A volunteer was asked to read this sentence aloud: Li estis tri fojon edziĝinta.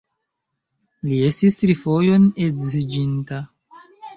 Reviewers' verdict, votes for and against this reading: accepted, 2, 0